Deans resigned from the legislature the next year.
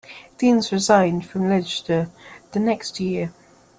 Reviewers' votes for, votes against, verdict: 0, 2, rejected